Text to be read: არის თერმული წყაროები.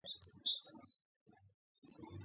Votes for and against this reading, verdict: 2, 1, accepted